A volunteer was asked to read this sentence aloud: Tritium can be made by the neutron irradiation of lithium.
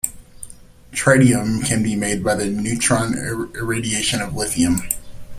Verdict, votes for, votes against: rejected, 1, 2